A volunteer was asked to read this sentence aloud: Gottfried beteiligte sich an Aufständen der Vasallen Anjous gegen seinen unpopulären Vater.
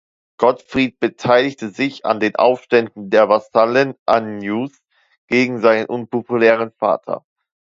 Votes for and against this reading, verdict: 0, 2, rejected